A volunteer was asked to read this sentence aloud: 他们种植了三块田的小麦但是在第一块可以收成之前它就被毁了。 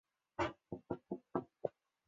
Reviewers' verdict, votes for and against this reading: rejected, 1, 2